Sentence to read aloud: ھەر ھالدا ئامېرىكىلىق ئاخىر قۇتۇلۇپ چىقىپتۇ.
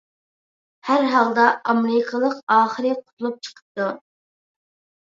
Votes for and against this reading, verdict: 1, 2, rejected